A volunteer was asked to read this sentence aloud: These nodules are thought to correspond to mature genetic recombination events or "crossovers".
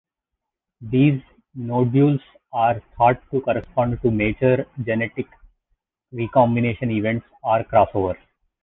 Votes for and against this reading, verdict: 2, 1, accepted